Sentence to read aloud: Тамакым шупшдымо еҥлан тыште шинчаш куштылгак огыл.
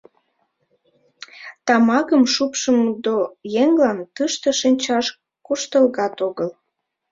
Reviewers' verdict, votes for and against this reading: rejected, 1, 2